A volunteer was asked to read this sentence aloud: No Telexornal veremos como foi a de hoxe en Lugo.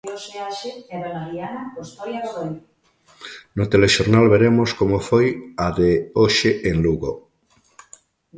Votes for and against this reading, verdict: 0, 2, rejected